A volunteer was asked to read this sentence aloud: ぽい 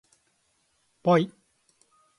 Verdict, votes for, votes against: rejected, 2, 2